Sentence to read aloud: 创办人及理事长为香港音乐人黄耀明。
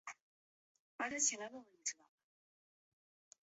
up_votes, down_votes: 0, 2